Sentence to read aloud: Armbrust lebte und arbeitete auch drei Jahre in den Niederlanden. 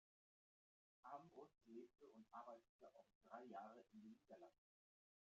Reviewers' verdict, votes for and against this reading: rejected, 0, 2